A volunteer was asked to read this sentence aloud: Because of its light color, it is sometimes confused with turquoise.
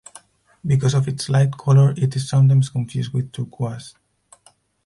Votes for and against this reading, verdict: 4, 2, accepted